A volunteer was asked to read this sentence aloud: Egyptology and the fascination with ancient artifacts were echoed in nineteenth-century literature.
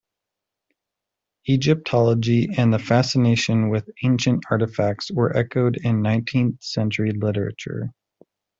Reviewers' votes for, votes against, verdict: 2, 1, accepted